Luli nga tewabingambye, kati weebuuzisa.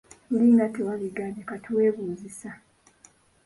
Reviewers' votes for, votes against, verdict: 2, 1, accepted